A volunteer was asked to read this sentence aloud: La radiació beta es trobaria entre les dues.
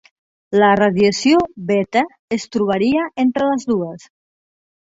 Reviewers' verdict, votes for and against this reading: accepted, 3, 0